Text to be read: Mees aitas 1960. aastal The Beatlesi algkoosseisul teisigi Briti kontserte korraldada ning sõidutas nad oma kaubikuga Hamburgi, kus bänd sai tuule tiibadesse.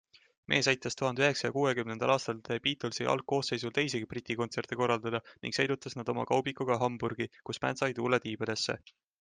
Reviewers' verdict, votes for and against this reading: rejected, 0, 2